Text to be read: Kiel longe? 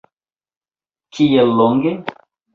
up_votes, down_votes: 1, 2